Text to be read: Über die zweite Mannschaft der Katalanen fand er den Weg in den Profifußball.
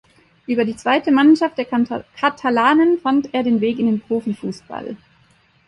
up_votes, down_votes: 0, 3